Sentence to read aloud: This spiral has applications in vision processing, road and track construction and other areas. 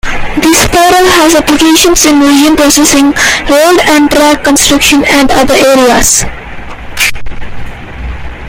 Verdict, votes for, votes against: rejected, 0, 2